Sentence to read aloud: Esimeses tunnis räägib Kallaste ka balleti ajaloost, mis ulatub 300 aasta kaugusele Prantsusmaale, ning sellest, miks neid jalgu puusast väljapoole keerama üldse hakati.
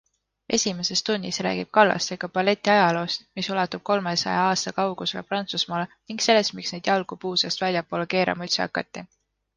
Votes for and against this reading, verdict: 0, 2, rejected